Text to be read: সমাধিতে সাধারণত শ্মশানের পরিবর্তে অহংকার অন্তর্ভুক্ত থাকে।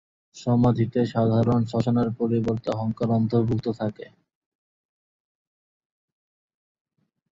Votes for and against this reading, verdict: 0, 2, rejected